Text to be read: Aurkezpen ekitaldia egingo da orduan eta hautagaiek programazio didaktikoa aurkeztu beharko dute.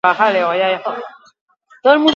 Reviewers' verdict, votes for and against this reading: rejected, 0, 2